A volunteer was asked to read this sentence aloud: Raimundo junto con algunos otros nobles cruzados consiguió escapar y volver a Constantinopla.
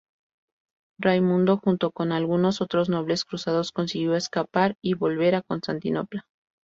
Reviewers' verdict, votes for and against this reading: accepted, 2, 0